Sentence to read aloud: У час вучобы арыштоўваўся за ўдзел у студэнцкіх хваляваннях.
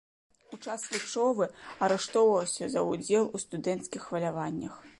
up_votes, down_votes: 2, 0